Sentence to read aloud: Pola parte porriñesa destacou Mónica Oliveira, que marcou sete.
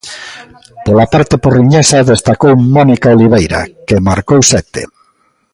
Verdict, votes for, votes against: accepted, 2, 0